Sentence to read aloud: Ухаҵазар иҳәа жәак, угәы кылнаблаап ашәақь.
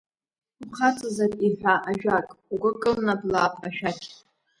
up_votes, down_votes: 1, 2